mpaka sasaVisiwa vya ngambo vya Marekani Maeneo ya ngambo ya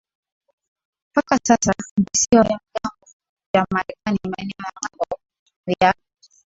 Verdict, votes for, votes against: rejected, 1, 2